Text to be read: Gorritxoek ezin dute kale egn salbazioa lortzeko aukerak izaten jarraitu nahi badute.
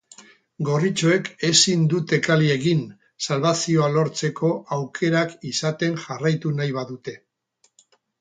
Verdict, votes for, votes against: rejected, 2, 4